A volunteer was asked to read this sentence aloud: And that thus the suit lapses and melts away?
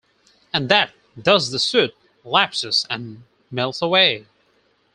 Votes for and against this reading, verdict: 4, 0, accepted